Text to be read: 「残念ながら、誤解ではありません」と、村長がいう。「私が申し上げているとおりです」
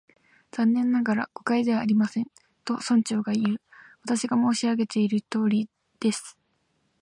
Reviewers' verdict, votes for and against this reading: accepted, 2, 0